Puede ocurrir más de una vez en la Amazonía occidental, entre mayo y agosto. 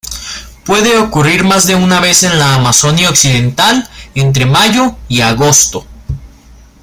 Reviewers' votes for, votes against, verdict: 0, 2, rejected